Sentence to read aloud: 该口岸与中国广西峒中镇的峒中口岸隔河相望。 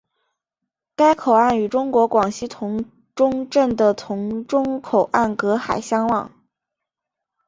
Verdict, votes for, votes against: accepted, 2, 0